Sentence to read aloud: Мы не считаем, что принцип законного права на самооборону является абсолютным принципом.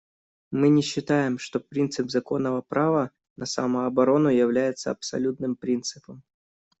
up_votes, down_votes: 2, 0